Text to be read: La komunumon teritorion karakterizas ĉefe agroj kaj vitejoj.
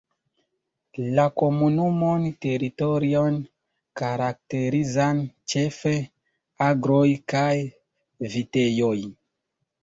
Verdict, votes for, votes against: rejected, 0, 2